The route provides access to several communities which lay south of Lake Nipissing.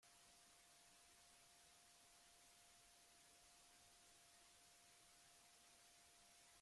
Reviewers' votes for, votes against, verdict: 0, 5, rejected